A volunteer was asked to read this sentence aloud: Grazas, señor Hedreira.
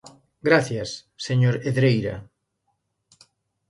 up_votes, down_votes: 0, 2